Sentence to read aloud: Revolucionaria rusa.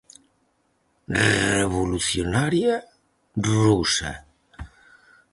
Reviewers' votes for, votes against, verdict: 0, 4, rejected